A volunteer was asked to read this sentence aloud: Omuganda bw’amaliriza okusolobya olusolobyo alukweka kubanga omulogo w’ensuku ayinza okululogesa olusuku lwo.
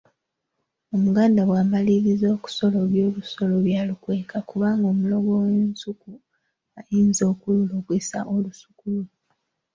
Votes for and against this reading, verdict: 3, 2, accepted